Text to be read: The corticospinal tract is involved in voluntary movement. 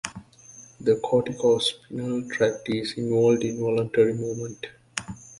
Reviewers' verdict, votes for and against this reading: accepted, 2, 0